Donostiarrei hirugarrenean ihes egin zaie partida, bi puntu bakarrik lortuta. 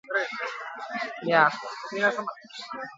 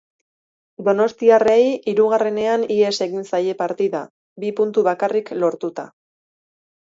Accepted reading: second